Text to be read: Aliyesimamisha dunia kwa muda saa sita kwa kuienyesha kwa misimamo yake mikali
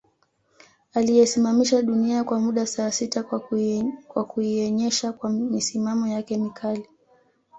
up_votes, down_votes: 2, 0